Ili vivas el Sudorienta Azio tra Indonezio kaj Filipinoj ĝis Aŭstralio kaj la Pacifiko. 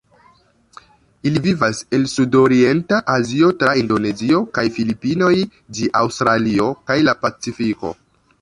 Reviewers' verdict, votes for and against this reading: rejected, 1, 2